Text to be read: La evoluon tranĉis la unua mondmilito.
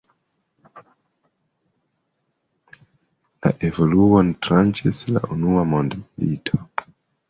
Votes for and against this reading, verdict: 2, 0, accepted